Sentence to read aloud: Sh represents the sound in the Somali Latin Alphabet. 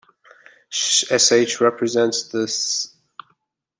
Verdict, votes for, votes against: rejected, 0, 2